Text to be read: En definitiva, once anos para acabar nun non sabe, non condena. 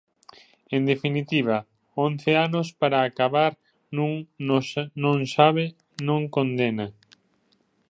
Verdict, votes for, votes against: rejected, 0, 2